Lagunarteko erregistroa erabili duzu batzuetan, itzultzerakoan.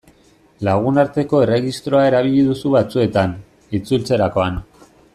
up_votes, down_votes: 2, 0